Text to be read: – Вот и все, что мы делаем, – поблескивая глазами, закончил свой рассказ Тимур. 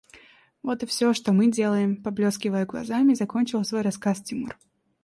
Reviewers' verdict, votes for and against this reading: accepted, 2, 0